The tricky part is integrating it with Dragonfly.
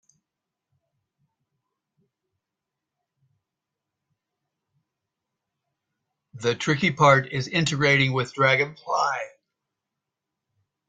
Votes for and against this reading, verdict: 0, 2, rejected